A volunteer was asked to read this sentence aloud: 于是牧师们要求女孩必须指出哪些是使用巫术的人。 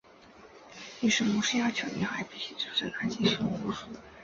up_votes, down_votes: 0, 4